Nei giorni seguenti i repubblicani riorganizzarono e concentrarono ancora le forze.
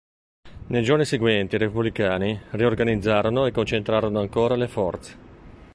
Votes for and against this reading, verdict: 3, 1, accepted